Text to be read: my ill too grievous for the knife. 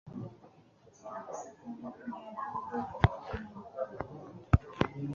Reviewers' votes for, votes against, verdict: 1, 2, rejected